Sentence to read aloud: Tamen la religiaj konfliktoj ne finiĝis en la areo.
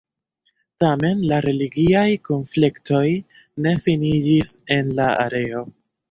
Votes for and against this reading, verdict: 1, 2, rejected